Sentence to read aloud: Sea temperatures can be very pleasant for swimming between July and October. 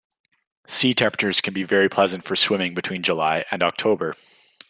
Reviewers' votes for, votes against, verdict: 2, 0, accepted